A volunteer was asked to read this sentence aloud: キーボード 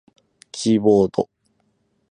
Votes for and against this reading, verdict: 6, 0, accepted